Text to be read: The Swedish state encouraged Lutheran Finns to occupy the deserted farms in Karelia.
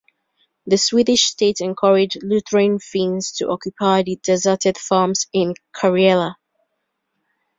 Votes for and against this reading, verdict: 1, 2, rejected